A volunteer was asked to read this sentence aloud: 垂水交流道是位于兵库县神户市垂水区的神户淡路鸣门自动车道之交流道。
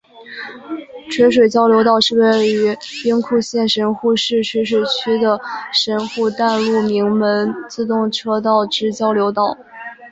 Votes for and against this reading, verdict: 5, 2, accepted